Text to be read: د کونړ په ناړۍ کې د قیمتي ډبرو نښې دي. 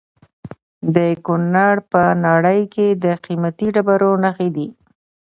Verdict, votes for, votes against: rejected, 0, 2